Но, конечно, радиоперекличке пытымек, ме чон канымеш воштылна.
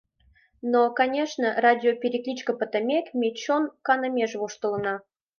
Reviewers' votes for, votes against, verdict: 1, 2, rejected